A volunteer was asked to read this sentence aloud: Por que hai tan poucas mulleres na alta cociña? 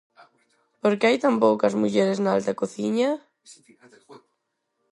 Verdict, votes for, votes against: rejected, 2, 2